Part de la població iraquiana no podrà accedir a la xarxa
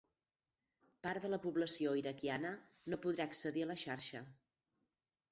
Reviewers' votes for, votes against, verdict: 0, 4, rejected